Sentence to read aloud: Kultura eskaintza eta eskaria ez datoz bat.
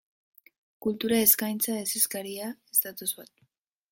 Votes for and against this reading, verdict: 0, 3, rejected